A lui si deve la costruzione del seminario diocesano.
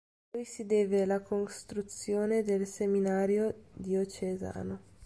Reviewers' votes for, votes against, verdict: 2, 0, accepted